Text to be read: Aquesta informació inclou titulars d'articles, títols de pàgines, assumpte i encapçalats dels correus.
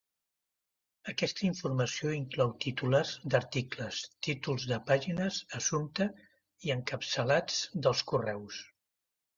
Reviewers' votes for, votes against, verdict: 1, 2, rejected